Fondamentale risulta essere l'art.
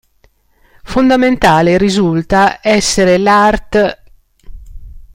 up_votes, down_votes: 2, 0